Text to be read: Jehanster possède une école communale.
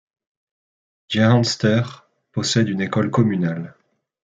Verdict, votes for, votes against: accepted, 2, 0